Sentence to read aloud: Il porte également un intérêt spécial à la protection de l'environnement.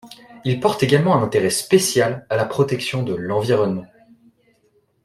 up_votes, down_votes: 2, 1